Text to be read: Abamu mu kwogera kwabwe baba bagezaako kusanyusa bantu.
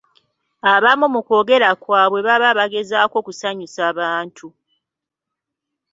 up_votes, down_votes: 2, 0